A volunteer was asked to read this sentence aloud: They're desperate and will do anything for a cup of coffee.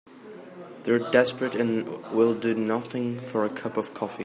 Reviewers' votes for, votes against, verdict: 0, 2, rejected